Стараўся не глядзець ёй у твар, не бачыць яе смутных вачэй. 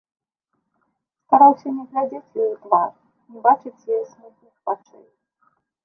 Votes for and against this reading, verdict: 0, 2, rejected